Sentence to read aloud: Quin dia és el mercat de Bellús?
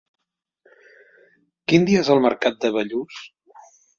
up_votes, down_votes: 3, 0